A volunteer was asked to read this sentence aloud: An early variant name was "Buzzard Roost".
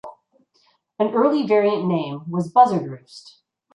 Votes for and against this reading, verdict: 2, 1, accepted